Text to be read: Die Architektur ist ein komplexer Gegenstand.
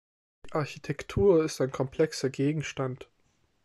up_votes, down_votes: 3, 1